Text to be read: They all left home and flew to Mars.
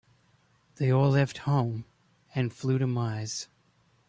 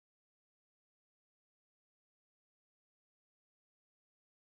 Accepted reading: first